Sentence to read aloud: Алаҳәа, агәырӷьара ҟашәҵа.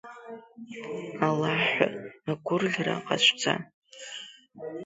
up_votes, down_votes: 0, 2